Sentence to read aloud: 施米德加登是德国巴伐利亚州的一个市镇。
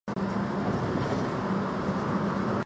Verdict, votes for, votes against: rejected, 0, 4